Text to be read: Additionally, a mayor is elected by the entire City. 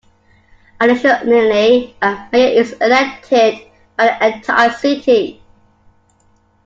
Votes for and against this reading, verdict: 0, 2, rejected